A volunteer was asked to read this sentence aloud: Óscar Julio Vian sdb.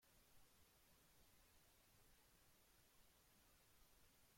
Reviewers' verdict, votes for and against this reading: rejected, 0, 2